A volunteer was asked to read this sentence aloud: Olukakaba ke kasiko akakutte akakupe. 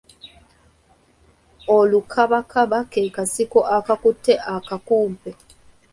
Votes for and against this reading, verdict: 0, 2, rejected